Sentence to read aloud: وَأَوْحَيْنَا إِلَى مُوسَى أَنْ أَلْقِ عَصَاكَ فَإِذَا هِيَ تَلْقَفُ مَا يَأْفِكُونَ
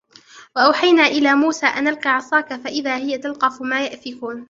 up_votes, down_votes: 2, 1